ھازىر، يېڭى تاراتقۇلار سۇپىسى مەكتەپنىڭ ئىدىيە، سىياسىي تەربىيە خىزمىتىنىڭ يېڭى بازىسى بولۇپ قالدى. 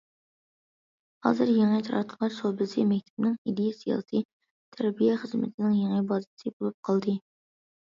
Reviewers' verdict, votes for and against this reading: rejected, 0, 2